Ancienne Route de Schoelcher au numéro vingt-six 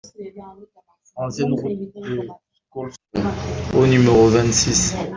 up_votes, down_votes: 0, 2